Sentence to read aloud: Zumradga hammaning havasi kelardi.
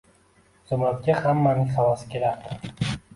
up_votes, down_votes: 2, 0